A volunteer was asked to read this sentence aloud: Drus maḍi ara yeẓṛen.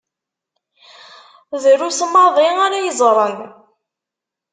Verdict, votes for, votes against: accepted, 2, 0